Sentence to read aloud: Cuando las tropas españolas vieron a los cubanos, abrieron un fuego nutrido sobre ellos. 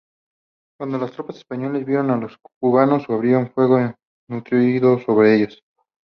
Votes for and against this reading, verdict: 2, 0, accepted